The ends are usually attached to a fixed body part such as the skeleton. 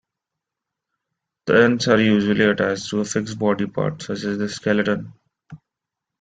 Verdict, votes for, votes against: accepted, 2, 0